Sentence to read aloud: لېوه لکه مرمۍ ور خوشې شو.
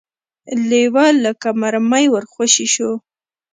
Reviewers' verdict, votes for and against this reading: accepted, 2, 1